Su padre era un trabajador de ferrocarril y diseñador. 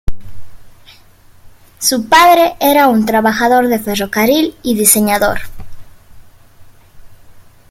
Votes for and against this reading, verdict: 2, 0, accepted